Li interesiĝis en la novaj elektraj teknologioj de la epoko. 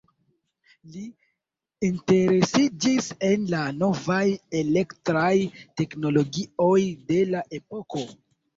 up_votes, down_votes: 1, 2